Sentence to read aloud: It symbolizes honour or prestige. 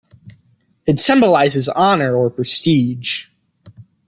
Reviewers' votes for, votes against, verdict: 2, 0, accepted